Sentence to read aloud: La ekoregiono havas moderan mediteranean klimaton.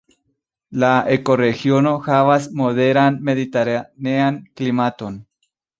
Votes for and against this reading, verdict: 2, 0, accepted